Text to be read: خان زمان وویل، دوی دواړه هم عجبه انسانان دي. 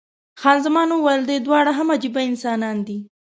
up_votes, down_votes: 2, 0